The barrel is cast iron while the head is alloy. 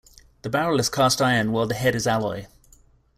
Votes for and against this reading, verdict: 2, 0, accepted